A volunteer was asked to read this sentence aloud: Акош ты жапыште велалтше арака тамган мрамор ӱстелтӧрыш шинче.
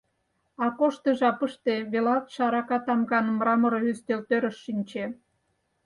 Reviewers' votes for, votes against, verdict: 4, 0, accepted